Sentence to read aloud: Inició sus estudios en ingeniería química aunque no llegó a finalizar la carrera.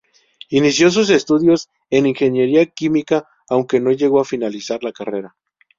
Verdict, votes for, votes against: rejected, 0, 2